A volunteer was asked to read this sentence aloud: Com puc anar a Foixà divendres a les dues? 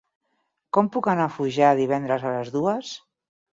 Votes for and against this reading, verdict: 4, 6, rejected